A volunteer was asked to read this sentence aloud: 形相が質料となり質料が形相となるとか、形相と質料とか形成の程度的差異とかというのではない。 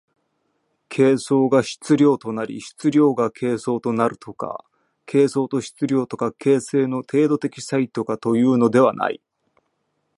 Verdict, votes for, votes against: accepted, 2, 0